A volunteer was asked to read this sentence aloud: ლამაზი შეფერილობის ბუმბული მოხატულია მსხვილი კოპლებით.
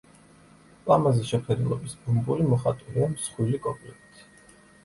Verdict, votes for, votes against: accepted, 2, 0